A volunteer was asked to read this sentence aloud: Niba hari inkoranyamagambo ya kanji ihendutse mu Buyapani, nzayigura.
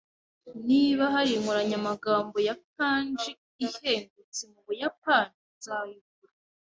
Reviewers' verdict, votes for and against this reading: accepted, 2, 0